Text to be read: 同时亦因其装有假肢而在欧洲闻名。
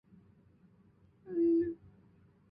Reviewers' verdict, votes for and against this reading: rejected, 0, 4